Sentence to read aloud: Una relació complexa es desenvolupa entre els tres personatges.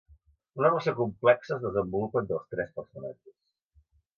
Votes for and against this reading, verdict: 1, 2, rejected